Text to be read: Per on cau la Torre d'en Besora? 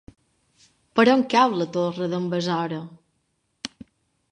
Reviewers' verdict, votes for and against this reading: accepted, 3, 0